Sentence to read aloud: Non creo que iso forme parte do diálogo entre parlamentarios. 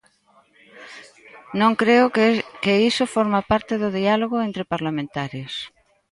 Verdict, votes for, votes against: rejected, 1, 2